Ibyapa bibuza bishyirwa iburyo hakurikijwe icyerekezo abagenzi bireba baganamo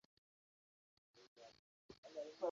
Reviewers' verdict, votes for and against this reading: rejected, 0, 2